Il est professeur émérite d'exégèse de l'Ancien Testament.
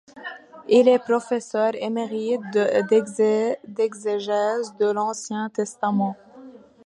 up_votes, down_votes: 1, 2